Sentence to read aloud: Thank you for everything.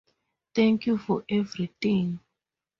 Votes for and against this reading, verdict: 2, 0, accepted